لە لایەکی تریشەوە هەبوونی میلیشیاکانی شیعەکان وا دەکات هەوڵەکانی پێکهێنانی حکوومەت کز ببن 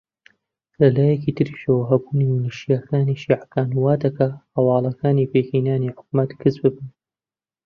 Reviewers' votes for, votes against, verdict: 0, 2, rejected